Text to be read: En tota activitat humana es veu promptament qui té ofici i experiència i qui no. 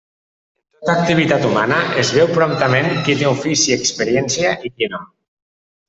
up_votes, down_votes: 0, 2